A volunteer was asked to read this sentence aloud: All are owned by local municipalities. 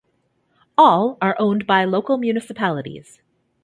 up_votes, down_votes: 3, 0